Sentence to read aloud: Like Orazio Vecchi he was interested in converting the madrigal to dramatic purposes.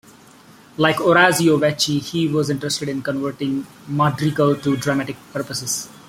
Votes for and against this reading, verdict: 1, 2, rejected